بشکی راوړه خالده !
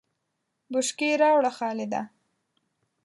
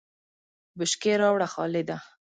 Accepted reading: second